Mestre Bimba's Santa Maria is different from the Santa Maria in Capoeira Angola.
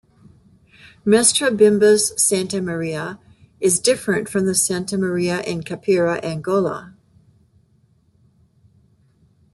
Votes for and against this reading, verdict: 2, 1, accepted